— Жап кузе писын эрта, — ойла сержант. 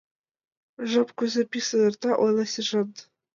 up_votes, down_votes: 2, 1